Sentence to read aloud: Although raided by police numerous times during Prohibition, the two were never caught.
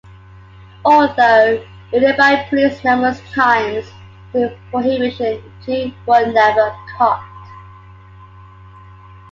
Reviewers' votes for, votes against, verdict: 2, 1, accepted